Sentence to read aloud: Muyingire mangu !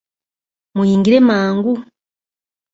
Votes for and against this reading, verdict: 2, 0, accepted